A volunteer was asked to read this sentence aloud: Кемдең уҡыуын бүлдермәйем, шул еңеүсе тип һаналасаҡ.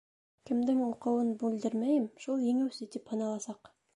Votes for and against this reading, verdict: 1, 2, rejected